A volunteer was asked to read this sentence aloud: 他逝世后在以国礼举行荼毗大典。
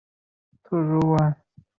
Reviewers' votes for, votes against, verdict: 0, 2, rejected